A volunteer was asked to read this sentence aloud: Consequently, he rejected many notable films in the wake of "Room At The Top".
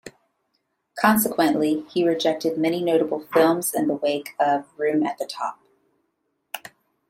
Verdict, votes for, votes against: accepted, 2, 0